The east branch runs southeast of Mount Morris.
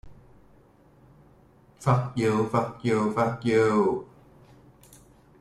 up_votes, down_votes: 0, 2